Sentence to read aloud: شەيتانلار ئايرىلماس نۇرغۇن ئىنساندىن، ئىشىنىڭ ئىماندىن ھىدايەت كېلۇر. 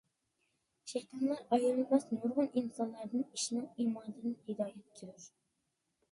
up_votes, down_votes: 0, 2